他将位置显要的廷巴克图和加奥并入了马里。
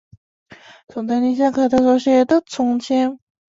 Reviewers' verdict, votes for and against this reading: rejected, 0, 2